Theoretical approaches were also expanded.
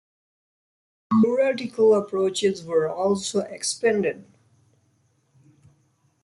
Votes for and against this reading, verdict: 2, 0, accepted